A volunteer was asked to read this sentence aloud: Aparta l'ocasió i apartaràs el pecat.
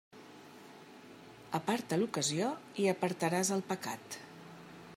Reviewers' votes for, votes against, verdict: 3, 0, accepted